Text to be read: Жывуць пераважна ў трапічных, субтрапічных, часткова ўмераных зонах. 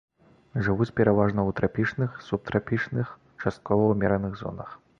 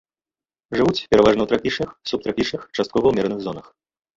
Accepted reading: first